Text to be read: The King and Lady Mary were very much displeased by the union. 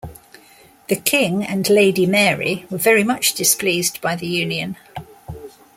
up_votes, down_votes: 2, 0